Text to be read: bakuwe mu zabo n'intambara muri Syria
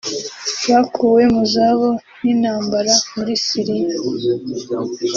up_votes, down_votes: 2, 0